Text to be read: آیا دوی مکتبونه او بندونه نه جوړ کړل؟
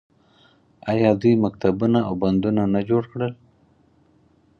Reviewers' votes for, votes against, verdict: 4, 0, accepted